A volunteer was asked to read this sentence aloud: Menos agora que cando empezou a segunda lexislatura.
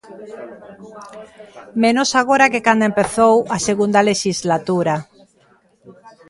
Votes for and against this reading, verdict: 2, 1, accepted